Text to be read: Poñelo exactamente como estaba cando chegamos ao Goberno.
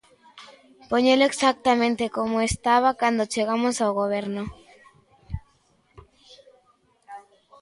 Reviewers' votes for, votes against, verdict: 2, 0, accepted